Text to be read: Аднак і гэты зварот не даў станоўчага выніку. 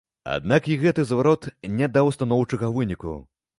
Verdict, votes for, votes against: accepted, 3, 0